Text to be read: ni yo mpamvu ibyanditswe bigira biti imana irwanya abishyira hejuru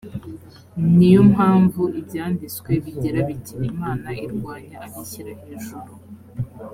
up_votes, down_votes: 3, 0